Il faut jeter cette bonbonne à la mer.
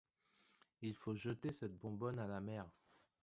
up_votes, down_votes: 1, 2